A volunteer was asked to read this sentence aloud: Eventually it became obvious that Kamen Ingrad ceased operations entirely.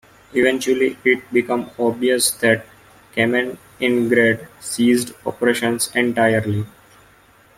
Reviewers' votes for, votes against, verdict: 1, 2, rejected